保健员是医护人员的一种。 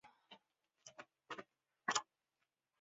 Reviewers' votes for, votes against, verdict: 6, 1, accepted